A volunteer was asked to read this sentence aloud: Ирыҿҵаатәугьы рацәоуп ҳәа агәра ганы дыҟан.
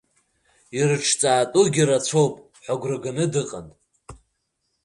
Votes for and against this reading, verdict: 2, 0, accepted